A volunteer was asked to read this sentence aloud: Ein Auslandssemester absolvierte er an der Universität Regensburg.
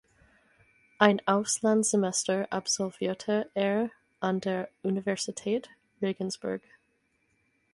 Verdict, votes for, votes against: accepted, 4, 0